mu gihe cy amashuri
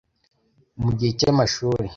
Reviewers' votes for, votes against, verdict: 2, 0, accepted